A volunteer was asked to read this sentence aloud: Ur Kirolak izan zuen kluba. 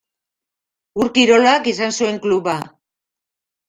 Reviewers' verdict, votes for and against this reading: accepted, 2, 0